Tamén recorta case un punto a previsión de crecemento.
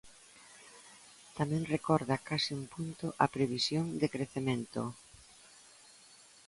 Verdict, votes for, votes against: rejected, 0, 2